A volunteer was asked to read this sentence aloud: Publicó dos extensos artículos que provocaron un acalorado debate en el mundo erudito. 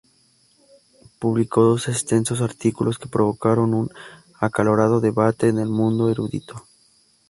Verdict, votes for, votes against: accepted, 2, 0